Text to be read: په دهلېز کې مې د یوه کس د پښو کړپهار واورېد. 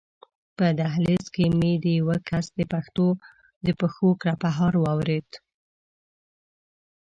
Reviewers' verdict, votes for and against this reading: rejected, 1, 2